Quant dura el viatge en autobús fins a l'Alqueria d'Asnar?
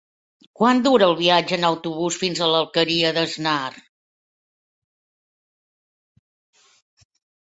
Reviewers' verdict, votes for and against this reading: accepted, 2, 0